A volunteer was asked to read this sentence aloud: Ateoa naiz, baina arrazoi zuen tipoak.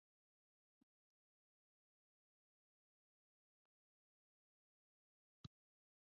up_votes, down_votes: 0, 3